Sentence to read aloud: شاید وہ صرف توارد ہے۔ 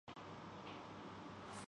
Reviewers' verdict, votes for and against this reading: rejected, 0, 2